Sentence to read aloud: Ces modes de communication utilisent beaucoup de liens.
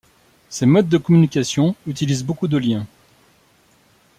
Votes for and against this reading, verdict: 2, 0, accepted